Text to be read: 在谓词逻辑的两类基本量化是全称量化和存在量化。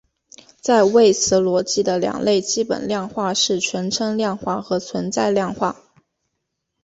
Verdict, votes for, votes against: accepted, 2, 0